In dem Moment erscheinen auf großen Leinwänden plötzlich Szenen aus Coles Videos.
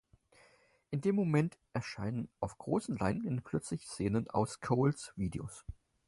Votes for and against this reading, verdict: 4, 0, accepted